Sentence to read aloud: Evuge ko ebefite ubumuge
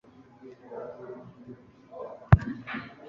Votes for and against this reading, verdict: 1, 2, rejected